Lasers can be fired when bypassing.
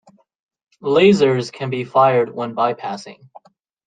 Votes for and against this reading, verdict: 2, 0, accepted